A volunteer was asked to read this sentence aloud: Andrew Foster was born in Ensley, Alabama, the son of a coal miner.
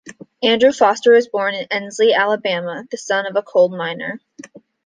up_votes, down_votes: 2, 0